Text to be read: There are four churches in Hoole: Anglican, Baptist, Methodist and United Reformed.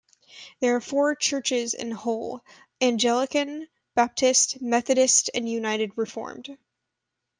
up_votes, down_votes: 1, 2